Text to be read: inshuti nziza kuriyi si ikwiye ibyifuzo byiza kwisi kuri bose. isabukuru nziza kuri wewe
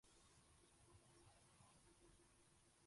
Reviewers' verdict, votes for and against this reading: rejected, 0, 2